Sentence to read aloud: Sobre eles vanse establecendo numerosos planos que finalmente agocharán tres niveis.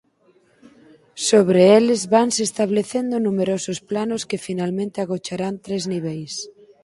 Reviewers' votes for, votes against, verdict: 4, 0, accepted